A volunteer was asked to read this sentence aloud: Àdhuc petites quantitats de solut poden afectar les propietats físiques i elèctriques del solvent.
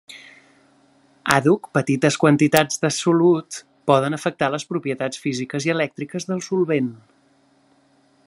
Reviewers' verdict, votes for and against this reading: accepted, 3, 0